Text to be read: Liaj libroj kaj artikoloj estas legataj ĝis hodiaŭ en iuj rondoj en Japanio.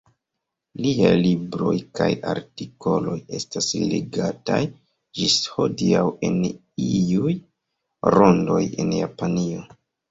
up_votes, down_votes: 2, 1